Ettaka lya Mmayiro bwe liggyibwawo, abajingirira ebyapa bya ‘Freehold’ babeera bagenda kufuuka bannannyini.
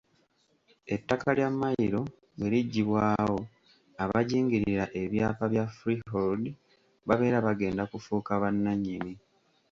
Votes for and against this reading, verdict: 1, 2, rejected